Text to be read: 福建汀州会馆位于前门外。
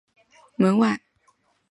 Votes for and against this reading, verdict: 1, 3, rejected